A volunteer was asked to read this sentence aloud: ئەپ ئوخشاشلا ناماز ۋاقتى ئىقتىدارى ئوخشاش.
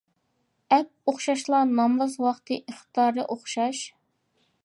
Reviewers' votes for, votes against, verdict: 2, 0, accepted